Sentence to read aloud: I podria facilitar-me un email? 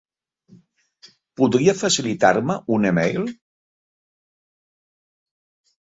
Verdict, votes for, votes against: rejected, 1, 3